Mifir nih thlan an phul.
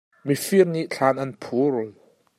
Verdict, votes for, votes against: accepted, 2, 1